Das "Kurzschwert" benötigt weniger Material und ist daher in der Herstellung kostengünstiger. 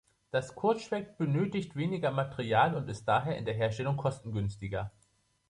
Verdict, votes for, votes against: accepted, 2, 0